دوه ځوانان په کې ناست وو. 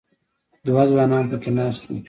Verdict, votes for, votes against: accepted, 2, 0